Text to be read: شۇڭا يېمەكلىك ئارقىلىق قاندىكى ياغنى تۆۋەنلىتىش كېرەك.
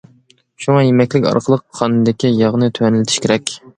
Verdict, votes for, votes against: accepted, 2, 0